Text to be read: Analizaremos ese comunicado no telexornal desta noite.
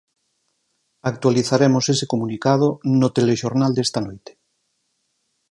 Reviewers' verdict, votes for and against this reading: rejected, 2, 4